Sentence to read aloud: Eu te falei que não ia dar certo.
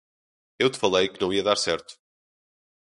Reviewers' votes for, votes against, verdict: 2, 0, accepted